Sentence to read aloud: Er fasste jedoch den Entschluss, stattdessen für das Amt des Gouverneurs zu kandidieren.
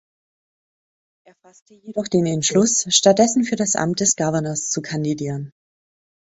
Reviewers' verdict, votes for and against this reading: rejected, 0, 2